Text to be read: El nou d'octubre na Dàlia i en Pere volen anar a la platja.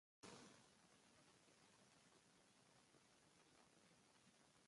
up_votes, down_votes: 1, 2